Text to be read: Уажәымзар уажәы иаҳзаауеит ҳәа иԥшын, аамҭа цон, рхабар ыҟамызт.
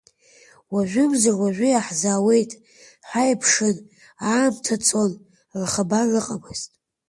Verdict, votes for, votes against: accepted, 2, 1